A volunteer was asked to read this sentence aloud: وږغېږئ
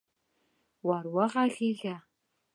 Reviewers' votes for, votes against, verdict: 0, 2, rejected